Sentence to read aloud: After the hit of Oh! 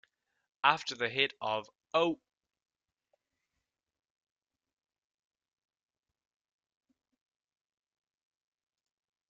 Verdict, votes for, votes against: accepted, 2, 0